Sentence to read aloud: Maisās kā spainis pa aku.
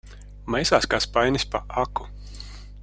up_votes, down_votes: 2, 0